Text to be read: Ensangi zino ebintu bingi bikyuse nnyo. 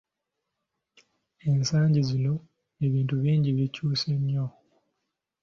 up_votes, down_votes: 2, 0